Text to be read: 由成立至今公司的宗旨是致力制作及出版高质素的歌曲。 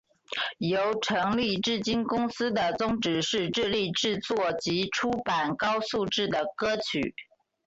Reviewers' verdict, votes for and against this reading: accepted, 3, 0